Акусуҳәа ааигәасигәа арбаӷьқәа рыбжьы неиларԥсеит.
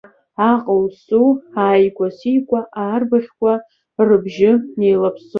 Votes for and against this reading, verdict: 0, 2, rejected